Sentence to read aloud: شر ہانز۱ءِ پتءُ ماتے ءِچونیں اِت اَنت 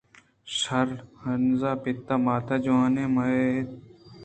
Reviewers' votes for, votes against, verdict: 0, 2, rejected